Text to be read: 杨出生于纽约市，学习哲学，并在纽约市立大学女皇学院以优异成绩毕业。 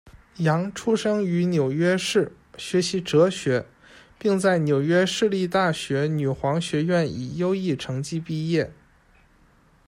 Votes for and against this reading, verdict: 2, 0, accepted